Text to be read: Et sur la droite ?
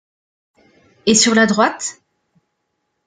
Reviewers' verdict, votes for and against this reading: accepted, 2, 0